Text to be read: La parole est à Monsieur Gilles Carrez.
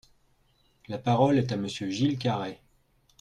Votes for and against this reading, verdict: 2, 0, accepted